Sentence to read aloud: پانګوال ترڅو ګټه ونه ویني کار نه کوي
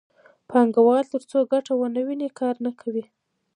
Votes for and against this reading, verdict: 0, 2, rejected